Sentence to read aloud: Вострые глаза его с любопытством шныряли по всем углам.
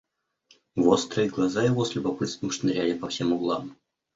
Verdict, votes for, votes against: accepted, 2, 0